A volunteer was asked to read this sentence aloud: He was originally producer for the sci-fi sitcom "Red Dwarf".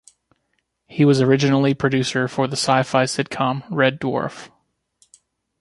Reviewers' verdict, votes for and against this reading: accepted, 2, 0